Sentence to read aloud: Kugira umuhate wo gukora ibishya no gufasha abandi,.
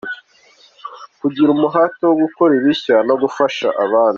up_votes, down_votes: 3, 1